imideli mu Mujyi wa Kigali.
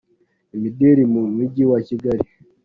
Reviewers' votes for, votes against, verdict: 2, 1, accepted